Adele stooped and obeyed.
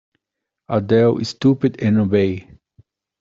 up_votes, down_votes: 1, 2